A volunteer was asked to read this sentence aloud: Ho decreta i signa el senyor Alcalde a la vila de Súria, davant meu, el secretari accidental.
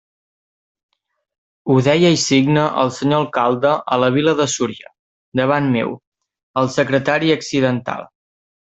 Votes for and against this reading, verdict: 0, 2, rejected